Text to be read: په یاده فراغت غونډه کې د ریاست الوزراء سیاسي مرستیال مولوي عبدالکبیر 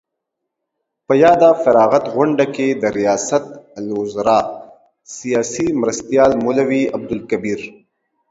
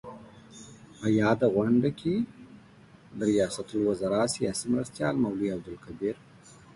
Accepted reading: first